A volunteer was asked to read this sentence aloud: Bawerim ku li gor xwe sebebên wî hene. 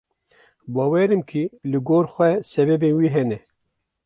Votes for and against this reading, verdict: 1, 2, rejected